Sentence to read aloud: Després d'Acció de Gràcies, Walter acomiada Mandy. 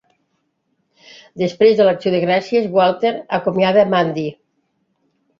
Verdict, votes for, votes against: rejected, 3, 4